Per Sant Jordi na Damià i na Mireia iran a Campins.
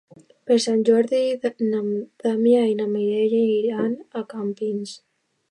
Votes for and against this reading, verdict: 0, 2, rejected